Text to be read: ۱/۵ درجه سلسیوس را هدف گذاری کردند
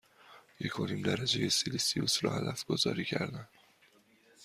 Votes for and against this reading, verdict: 0, 2, rejected